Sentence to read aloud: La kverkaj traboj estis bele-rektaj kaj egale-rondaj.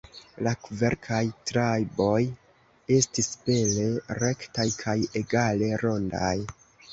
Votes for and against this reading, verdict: 0, 2, rejected